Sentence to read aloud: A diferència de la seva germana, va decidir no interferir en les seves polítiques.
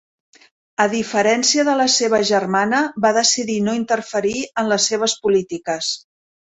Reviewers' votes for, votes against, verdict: 3, 0, accepted